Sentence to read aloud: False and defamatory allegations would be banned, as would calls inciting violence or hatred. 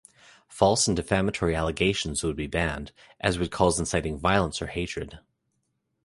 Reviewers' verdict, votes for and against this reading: accepted, 2, 0